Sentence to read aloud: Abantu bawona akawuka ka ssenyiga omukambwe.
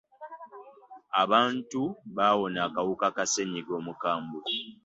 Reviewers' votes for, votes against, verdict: 2, 0, accepted